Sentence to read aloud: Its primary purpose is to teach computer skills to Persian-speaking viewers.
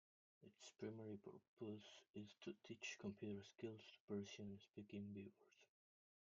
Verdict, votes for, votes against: rejected, 0, 2